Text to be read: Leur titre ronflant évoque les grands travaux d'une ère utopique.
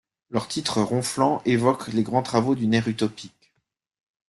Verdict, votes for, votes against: rejected, 0, 2